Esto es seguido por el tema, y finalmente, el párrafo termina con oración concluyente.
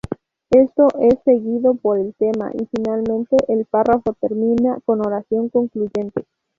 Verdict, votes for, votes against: accepted, 2, 0